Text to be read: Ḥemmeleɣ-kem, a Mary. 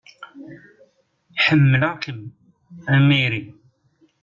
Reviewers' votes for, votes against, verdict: 0, 2, rejected